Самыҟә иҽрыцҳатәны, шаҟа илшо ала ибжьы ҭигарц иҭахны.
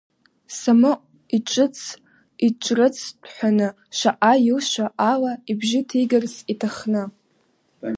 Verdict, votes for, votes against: rejected, 0, 2